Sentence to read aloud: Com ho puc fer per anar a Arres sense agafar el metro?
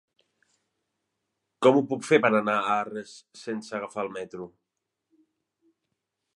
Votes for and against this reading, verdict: 3, 0, accepted